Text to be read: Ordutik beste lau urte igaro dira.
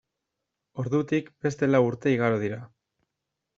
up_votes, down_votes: 2, 0